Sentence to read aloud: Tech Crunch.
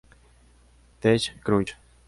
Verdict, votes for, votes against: accepted, 2, 1